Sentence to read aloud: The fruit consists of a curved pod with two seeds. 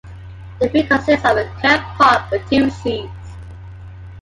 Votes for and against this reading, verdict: 2, 1, accepted